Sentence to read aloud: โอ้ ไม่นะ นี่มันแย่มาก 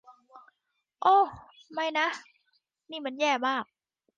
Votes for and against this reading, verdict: 2, 0, accepted